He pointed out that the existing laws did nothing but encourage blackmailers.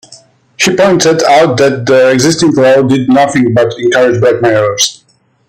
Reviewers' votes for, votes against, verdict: 2, 1, accepted